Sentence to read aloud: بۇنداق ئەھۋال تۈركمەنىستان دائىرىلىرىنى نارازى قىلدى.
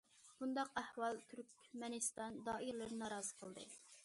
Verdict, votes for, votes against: accepted, 2, 0